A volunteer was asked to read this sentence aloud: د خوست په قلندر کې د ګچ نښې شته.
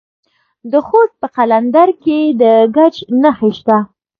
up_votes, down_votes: 0, 2